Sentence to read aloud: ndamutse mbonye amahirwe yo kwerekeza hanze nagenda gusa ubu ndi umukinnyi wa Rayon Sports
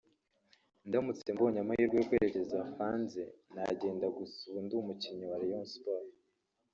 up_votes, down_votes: 1, 2